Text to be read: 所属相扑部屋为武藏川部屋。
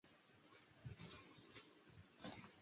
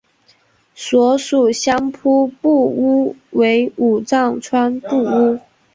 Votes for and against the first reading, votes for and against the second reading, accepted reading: 0, 5, 2, 0, second